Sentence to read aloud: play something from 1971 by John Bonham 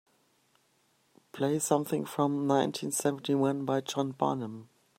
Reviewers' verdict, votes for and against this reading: rejected, 0, 2